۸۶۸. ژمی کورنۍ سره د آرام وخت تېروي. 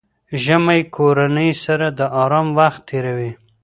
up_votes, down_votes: 0, 2